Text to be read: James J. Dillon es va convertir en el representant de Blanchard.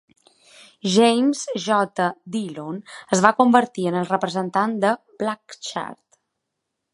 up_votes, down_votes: 0, 2